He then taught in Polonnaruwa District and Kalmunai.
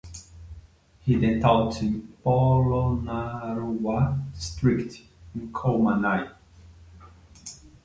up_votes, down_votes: 1, 2